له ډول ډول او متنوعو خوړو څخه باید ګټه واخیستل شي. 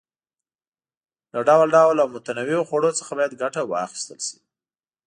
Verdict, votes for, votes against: accepted, 2, 0